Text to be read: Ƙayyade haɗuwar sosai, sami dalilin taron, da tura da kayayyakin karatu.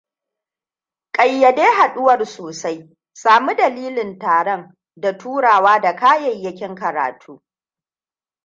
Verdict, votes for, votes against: rejected, 1, 2